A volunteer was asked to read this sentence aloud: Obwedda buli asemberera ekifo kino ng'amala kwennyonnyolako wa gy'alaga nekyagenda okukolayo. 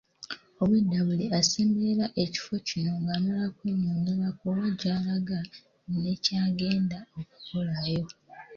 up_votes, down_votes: 3, 0